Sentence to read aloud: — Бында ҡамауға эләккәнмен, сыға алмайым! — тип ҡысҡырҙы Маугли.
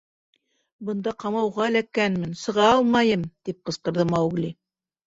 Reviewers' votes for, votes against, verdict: 2, 0, accepted